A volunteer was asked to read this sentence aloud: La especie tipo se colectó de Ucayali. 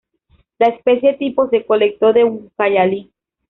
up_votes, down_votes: 0, 2